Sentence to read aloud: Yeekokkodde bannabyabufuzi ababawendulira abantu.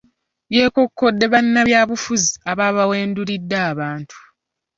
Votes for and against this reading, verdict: 1, 2, rejected